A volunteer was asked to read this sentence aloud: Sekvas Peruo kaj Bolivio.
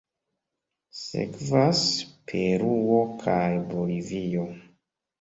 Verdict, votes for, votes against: rejected, 0, 2